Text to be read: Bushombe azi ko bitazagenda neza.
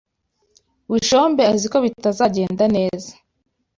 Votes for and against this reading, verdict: 2, 0, accepted